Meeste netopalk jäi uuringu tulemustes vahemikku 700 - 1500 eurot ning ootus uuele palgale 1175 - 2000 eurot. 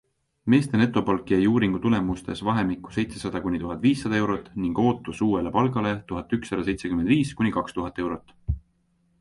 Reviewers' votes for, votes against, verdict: 0, 2, rejected